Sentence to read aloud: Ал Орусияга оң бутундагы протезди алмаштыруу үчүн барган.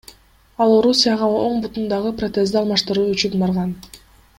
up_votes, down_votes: 2, 1